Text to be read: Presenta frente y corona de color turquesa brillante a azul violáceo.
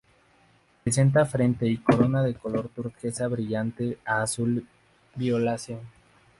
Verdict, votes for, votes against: rejected, 2, 2